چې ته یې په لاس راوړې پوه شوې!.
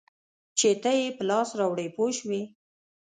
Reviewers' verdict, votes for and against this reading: accepted, 2, 0